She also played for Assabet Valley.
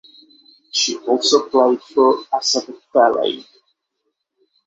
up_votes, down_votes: 0, 6